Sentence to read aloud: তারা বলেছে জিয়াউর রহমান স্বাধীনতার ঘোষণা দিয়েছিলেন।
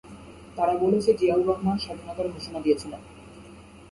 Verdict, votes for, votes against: accepted, 4, 0